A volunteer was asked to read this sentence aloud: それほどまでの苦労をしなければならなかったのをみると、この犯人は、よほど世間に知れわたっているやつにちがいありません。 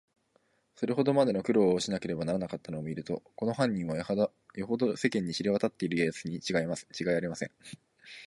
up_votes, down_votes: 0, 2